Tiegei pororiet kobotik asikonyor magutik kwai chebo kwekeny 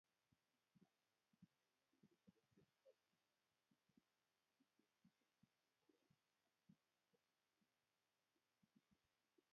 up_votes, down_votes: 0, 2